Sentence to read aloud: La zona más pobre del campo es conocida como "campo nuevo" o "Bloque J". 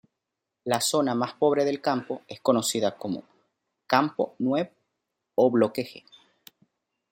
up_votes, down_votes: 1, 2